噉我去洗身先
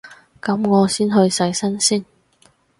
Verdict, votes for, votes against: rejected, 2, 2